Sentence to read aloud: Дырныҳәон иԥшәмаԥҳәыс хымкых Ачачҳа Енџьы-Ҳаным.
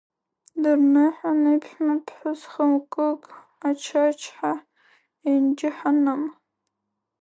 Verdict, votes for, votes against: rejected, 1, 2